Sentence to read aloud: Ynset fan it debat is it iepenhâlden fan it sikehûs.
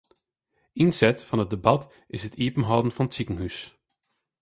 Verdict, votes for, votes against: rejected, 0, 2